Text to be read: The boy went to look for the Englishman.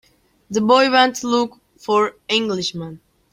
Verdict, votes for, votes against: rejected, 0, 3